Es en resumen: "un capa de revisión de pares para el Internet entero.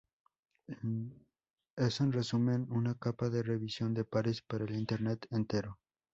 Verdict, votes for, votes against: accepted, 4, 0